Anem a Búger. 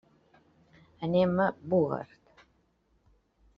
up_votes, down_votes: 0, 2